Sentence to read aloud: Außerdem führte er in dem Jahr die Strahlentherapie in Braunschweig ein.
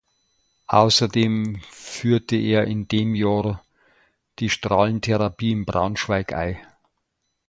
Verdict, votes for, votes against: accepted, 2, 0